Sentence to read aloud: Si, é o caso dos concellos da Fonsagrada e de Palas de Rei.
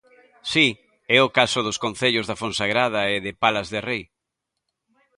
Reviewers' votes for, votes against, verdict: 2, 0, accepted